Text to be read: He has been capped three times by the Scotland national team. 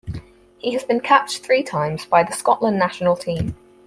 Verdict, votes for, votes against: accepted, 4, 0